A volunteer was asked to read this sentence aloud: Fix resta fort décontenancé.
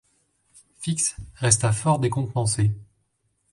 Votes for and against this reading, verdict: 2, 0, accepted